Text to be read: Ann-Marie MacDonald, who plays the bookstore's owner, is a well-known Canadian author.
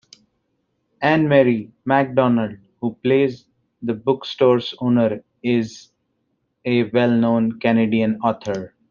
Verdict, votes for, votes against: accepted, 2, 0